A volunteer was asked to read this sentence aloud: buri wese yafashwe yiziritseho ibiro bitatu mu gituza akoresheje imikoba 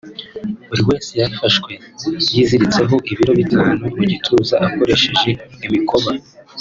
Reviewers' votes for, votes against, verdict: 4, 0, accepted